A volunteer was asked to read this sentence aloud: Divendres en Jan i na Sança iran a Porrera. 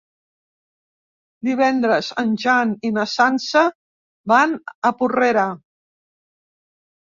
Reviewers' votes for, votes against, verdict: 1, 2, rejected